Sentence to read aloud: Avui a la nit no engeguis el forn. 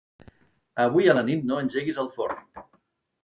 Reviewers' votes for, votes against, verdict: 3, 0, accepted